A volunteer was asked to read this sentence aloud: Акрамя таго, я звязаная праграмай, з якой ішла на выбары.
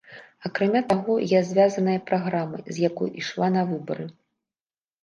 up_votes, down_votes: 0, 2